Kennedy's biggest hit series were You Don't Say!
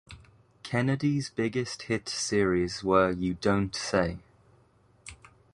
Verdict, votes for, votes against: accepted, 2, 0